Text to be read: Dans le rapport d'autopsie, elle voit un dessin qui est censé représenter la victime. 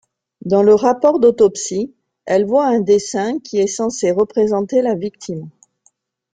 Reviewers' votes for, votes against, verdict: 1, 2, rejected